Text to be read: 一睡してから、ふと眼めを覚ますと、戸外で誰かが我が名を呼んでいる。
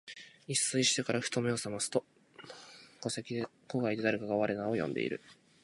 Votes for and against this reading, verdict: 0, 2, rejected